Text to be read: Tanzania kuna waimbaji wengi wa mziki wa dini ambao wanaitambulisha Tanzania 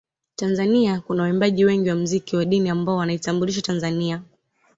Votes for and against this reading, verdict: 2, 0, accepted